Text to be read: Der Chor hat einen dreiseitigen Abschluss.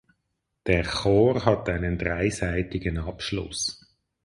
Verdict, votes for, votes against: rejected, 2, 2